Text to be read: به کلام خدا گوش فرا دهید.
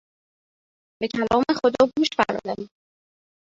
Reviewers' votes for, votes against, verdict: 1, 2, rejected